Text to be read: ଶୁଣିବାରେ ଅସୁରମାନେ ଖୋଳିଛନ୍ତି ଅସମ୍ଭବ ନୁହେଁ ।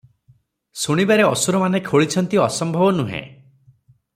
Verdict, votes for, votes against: accepted, 3, 0